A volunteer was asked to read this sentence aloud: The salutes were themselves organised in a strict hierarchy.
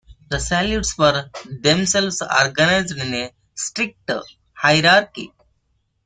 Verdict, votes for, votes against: rejected, 1, 2